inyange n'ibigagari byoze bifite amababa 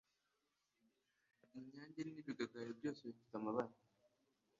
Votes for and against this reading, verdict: 2, 0, accepted